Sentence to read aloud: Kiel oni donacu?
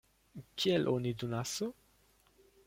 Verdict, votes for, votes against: rejected, 0, 2